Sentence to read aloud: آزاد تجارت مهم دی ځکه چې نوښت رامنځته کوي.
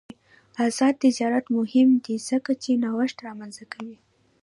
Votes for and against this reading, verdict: 0, 2, rejected